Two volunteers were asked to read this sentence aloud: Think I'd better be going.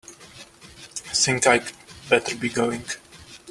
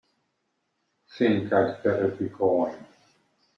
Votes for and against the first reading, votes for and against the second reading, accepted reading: 1, 2, 3, 0, second